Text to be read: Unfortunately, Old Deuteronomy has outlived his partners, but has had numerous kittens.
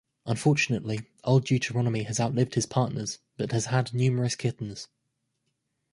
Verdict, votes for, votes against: accepted, 2, 0